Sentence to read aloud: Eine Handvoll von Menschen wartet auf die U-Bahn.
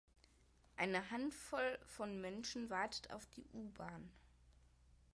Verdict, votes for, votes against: rejected, 1, 2